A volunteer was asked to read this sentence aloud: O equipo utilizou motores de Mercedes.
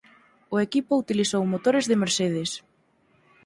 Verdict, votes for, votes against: accepted, 4, 0